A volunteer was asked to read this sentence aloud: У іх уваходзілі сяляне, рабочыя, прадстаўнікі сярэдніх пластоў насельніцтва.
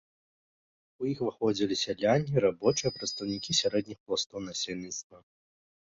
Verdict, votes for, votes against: rejected, 1, 2